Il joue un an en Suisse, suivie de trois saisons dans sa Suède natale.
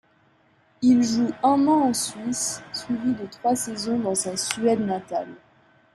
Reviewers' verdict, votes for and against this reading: rejected, 0, 2